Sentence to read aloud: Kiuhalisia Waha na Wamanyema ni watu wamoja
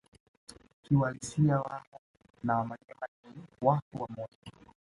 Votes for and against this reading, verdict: 2, 0, accepted